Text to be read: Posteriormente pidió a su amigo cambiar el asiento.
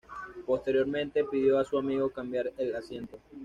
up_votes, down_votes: 2, 0